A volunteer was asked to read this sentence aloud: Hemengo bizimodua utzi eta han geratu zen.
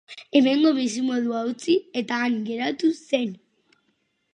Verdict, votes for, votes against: accepted, 6, 0